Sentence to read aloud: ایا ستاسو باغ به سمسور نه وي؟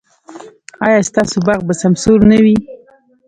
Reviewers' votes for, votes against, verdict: 2, 0, accepted